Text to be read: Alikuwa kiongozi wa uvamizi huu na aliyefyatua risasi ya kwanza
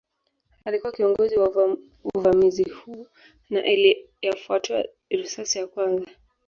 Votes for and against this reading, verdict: 1, 2, rejected